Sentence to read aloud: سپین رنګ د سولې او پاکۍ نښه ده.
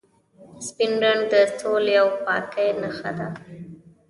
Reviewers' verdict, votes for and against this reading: rejected, 1, 2